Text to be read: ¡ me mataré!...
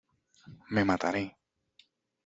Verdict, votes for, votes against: accepted, 2, 0